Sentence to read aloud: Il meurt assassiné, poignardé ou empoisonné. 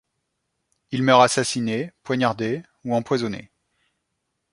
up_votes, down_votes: 2, 0